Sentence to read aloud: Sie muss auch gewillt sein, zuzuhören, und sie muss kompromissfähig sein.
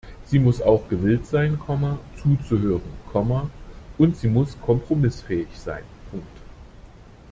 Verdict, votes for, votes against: rejected, 0, 2